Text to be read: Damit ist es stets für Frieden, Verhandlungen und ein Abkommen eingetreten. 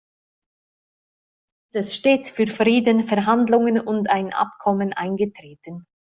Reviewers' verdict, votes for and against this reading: rejected, 0, 2